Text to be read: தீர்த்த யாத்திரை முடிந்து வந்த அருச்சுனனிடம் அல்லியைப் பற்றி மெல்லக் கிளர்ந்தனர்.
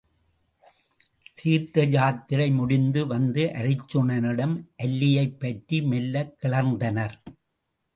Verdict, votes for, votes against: accepted, 2, 0